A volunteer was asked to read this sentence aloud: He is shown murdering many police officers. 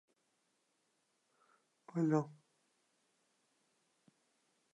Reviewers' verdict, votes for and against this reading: rejected, 0, 3